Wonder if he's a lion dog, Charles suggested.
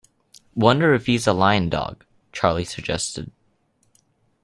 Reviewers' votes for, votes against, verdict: 0, 2, rejected